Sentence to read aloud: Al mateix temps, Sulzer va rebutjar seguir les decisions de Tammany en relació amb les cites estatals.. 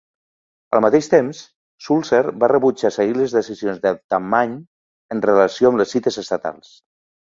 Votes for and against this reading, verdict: 2, 1, accepted